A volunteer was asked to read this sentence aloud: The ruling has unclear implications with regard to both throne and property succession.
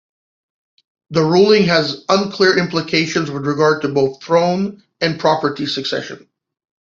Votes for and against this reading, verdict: 2, 0, accepted